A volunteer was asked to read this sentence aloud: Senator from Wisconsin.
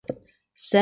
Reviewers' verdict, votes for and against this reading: rejected, 0, 2